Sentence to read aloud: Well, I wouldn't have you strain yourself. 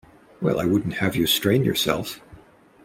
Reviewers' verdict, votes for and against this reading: accepted, 2, 0